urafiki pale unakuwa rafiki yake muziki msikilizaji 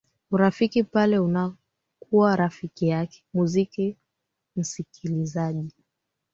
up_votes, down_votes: 2, 3